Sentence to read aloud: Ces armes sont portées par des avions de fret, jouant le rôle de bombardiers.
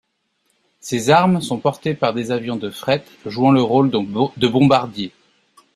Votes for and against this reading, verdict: 0, 2, rejected